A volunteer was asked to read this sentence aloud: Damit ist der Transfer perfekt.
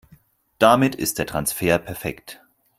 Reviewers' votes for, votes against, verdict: 4, 0, accepted